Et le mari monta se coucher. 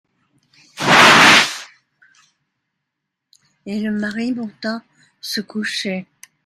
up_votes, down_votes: 1, 2